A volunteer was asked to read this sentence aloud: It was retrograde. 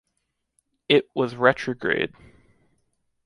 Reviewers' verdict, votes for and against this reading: accepted, 2, 0